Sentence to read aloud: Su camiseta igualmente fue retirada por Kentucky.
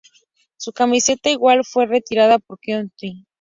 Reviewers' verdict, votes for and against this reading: rejected, 0, 4